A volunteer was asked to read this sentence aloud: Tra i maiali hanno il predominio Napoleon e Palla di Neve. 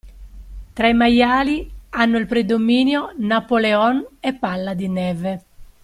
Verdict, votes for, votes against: accepted, 2, 0